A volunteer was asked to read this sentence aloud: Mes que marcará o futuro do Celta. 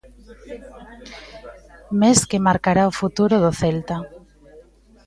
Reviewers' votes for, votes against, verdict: 2, 1, accepted